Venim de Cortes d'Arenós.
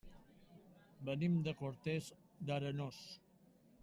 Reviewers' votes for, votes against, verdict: 0, 2, rejected